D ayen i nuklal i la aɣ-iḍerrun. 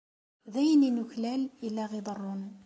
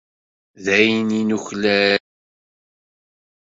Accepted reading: first